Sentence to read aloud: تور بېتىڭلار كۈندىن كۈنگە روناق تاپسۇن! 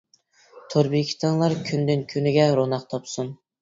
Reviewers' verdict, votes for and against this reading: rejected, 1, 2